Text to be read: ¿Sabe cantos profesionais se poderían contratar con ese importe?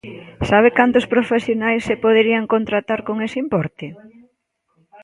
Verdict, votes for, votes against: accepted, 2, 0